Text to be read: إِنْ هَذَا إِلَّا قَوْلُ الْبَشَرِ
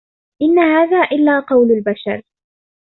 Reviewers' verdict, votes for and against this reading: accepted, 2, 0